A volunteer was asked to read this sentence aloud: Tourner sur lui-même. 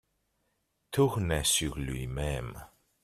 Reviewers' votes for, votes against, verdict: 2, 0, accepted